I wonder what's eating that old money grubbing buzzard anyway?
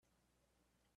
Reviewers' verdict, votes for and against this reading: rejected, 0, 2